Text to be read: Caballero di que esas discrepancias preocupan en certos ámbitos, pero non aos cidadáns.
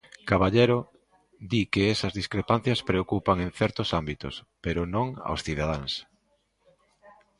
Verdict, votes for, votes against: accepted, 2, 0